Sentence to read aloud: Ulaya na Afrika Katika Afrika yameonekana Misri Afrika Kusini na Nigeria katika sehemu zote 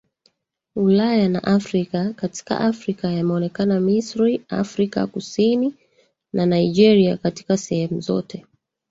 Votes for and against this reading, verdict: 2, 1, accepted